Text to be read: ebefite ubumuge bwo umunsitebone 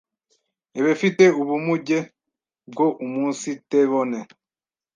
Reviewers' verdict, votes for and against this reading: rejected, 1, 2